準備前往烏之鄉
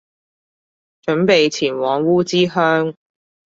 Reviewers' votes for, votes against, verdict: 2, 0, accepted